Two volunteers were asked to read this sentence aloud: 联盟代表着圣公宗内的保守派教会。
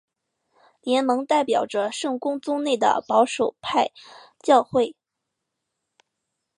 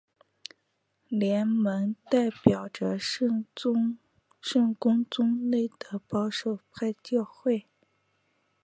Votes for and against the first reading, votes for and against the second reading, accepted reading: 2, 0, 0, 2, first